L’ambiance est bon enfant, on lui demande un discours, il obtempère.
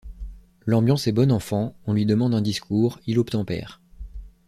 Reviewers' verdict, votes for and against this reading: accepted, 2, 0